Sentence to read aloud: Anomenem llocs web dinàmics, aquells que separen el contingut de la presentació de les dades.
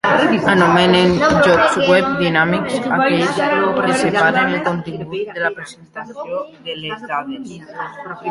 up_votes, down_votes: 0, 2